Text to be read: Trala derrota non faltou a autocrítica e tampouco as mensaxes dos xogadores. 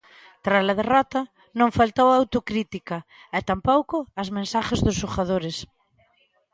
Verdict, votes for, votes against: rejected, 0, 2